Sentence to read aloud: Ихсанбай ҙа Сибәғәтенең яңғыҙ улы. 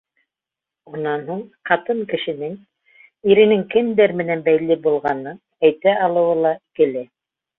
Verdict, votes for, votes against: rejected, 0, 2